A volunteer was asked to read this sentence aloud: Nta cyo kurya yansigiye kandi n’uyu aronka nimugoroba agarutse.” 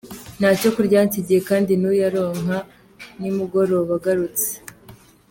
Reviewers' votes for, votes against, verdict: 2, 0, accepted